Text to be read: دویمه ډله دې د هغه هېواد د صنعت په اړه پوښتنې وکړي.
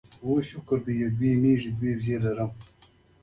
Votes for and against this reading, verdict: 0, 2, rejected